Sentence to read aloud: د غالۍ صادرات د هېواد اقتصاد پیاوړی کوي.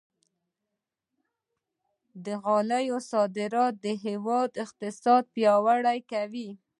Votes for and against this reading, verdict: 1, 2, rejected